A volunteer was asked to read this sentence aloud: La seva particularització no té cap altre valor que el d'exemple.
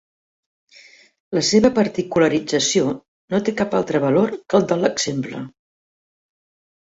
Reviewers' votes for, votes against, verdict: 0, 2, rejected